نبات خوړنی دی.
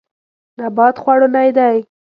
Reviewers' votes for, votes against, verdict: 1, 2, rejected